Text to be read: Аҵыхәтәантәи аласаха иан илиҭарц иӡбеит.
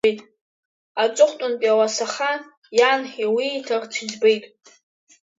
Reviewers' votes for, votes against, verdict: 1, 2, rejected